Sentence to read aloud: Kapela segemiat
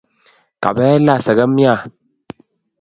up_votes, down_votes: 2, 0